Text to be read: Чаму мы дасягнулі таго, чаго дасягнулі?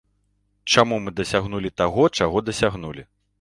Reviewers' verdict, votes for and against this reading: accepted, 2, 0